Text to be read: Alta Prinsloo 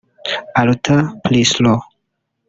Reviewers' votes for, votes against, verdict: 1, 2, rejected